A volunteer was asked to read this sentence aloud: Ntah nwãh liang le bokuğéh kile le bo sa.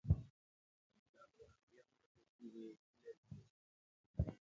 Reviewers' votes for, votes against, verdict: 1, 2, rejected